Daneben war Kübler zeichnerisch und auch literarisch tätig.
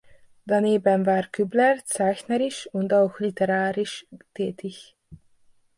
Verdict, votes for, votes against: accepted, 2, 0